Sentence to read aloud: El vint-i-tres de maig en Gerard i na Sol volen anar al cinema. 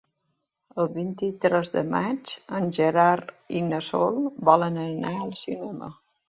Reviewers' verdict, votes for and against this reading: accepted, 3, 0